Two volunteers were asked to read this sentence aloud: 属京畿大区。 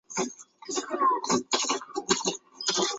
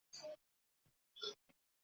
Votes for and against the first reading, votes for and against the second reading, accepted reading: 2, 0, 0, 2, first